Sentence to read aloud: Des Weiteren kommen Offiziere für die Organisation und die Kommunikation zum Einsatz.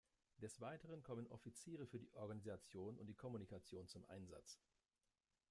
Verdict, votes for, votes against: rejected, 1, 2